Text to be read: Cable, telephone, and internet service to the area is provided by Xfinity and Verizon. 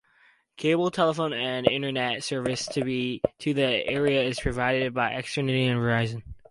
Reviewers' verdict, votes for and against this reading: rejected, 2, 2